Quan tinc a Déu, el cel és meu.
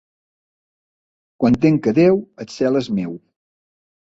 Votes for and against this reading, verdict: 4, 1, accepted